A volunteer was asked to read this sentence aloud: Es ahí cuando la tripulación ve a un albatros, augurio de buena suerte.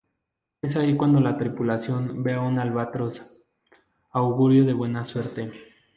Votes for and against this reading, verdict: 2, 0, accepted